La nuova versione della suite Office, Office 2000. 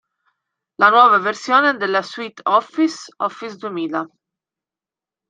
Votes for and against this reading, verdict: 0, 2, rejected